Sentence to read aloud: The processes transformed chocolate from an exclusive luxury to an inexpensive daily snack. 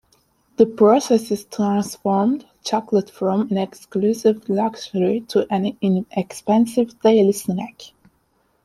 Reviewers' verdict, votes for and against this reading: accepted, 2, 0